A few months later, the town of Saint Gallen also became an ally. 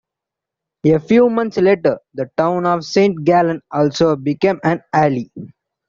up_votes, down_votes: 2, 0